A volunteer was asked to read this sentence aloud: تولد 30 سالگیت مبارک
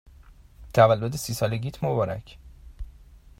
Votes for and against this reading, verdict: 0, 2, rejected